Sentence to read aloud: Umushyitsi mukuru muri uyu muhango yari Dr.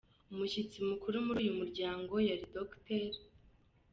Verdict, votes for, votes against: accepted, 2, 1